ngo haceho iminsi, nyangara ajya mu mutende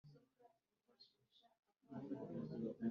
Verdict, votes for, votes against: rejected, 0, 3